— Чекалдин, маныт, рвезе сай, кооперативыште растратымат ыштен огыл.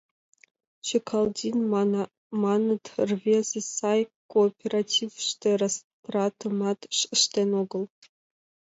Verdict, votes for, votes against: rejected, 1, 2